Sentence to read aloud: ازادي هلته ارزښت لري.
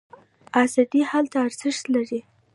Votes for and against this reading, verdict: 1, 2, rejected